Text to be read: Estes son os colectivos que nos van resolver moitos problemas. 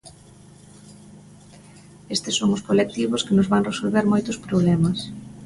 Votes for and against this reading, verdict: 2, 0, accepted